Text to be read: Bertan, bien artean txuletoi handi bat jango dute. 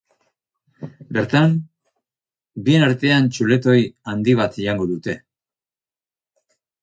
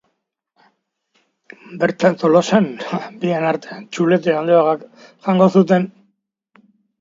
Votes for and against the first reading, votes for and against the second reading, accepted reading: 4, 0, 0, 2, first